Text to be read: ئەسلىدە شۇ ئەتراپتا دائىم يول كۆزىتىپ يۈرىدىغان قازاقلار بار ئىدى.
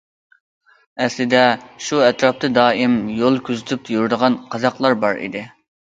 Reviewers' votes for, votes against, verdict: 2, 0, accepted